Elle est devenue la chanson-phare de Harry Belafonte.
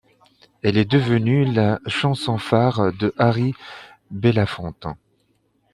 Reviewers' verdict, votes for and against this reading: accepted, 2, 0